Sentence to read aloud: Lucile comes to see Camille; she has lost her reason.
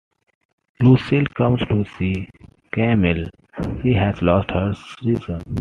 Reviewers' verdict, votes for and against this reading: accepted, 2, 1